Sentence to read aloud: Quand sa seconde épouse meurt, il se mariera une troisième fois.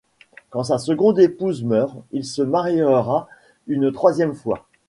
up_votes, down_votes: 2, 1